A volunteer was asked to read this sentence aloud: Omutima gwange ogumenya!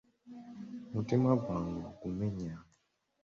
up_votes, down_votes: 2, 0